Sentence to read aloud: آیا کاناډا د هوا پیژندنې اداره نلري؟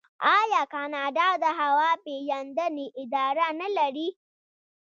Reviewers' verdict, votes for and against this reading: rejected, 0, 2